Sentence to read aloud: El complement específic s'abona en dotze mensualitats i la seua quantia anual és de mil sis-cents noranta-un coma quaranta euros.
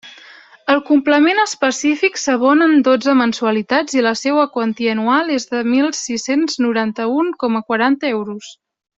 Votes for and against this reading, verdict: 2, 0, accepted